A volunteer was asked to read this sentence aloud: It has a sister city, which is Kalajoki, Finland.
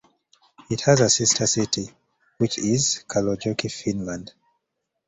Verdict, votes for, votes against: accepted, 2, 0